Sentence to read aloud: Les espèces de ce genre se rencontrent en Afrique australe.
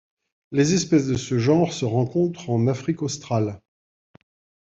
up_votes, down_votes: 2, 0